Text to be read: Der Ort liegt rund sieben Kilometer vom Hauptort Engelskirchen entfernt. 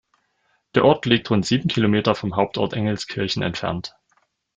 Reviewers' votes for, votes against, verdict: 2, 1, accepted